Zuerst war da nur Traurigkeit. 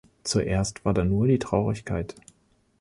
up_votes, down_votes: 1, 3